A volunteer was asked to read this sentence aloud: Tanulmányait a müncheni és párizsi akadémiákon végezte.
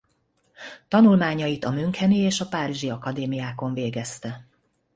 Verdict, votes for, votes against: rejected, 1, 2